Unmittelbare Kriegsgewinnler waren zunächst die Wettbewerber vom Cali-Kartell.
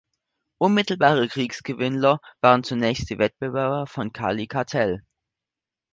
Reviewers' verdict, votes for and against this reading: accepted, 2, 0